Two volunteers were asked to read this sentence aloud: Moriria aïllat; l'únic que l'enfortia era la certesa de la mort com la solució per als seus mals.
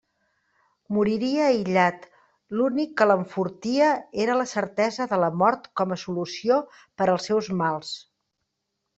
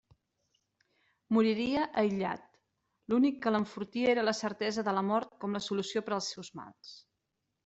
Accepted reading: second